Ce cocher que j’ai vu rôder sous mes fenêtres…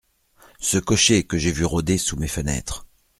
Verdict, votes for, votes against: accepted, 2, 0